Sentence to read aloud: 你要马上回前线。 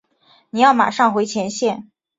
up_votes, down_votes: 5, 0